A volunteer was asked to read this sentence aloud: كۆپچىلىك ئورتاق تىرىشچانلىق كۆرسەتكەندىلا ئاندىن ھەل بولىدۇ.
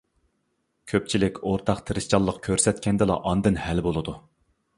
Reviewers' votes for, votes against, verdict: 2, 0, accepted